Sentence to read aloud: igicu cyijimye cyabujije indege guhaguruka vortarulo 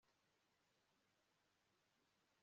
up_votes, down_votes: 0, 2